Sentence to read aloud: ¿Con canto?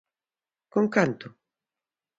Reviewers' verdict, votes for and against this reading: accepted, 2, 0